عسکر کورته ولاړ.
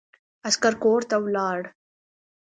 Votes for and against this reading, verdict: 2, 0, accepted